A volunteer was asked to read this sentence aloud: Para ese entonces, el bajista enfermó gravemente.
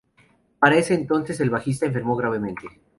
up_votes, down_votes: 4, 0